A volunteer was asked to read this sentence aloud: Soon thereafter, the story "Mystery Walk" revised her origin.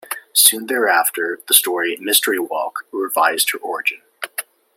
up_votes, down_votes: 1, 2